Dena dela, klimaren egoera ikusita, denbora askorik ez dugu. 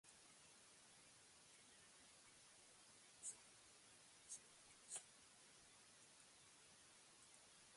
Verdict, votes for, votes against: rejected, 0, 2